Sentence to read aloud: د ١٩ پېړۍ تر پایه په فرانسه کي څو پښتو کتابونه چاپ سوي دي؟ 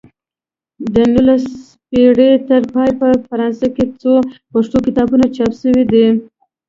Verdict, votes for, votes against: rejected, 0, 2